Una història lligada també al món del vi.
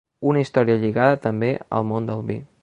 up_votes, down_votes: 3, 0